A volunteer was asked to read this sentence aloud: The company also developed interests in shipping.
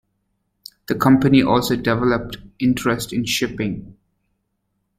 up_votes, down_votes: 1, 2